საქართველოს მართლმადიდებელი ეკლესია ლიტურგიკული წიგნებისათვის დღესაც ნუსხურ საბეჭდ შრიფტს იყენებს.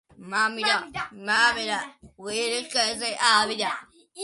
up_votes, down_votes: 0, 2